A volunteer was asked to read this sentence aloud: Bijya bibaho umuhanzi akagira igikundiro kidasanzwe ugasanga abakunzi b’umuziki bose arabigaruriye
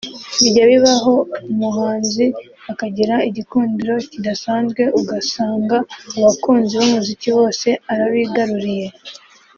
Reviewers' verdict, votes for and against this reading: accepted, 2, 0